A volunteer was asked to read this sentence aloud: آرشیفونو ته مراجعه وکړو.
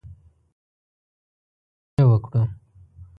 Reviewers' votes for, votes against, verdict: 1, 2, rejected